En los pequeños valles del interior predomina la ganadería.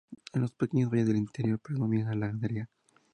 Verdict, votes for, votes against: rejected, 0, 2